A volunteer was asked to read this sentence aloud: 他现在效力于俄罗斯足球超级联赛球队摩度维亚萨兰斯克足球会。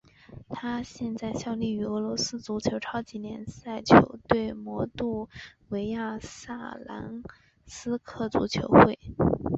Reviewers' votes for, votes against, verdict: 6, 1, accepted